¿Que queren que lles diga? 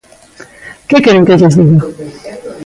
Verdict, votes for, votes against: accepted, 2, 1